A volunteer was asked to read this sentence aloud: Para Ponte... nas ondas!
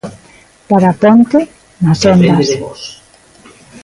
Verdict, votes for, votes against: rejected, 0, 2